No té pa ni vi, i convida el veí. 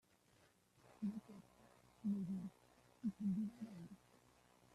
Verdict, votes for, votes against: rejected, 0, 2